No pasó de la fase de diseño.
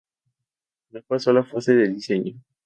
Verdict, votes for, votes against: accepted, 2, 0